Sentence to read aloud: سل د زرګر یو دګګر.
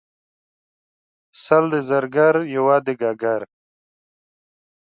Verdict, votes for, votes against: accepted, 2, 0